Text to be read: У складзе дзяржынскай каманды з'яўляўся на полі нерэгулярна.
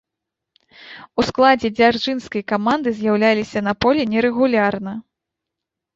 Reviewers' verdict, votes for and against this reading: rejected, 0, 3